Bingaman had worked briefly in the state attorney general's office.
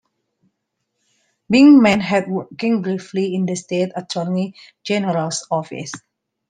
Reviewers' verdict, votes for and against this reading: rejected, 0, 2